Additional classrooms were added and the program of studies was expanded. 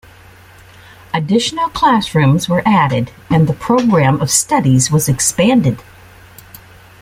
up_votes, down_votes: 2, 0